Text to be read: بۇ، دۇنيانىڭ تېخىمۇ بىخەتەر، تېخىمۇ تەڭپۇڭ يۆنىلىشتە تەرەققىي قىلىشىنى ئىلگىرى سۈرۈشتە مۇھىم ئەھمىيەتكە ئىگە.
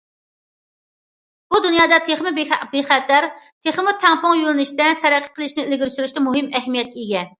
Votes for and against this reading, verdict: 0, 2, rejected